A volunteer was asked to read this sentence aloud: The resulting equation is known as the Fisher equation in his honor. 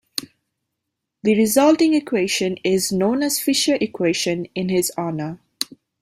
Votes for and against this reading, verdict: 0, 2, rejected